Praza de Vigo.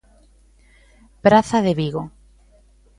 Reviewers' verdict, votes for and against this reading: accepted, 2, 0